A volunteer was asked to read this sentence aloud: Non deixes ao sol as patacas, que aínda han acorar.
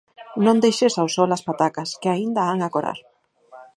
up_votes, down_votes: 4, 0